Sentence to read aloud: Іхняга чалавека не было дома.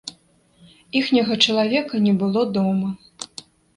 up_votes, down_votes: 2, 0